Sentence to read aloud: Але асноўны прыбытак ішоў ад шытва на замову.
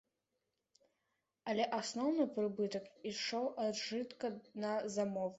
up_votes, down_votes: 0, 2